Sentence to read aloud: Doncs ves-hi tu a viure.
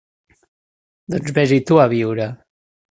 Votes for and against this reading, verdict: 3, 0, accepted